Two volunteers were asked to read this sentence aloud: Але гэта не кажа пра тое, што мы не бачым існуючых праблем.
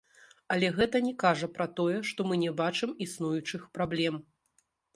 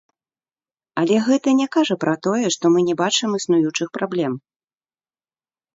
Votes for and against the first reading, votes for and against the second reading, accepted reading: 2, 0, 1, 2, first